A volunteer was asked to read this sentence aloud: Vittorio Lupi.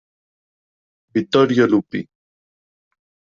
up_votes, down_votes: 2, 0